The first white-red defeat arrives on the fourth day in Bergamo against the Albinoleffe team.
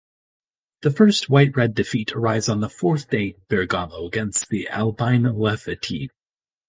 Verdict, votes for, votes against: rejected, 1, 2